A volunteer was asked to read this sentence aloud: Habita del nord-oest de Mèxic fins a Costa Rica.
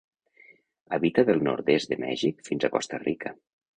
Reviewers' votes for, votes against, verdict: 1, 2, rejected